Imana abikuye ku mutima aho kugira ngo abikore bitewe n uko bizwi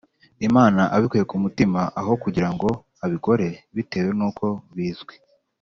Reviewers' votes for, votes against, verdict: 2, 0, accepted